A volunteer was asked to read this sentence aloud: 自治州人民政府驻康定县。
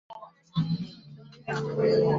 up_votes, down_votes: 0, 4